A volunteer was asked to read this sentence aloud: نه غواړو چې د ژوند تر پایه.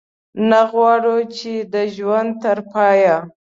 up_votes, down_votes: 2, 0